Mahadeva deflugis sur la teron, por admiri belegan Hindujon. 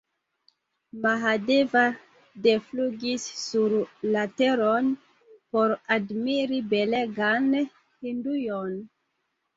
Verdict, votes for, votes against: rejected, 1, 2